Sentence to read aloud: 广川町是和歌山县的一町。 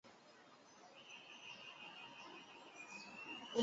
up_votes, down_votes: 2, 1